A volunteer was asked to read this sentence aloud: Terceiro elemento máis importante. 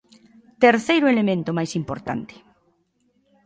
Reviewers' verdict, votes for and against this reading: accepted, 2, 0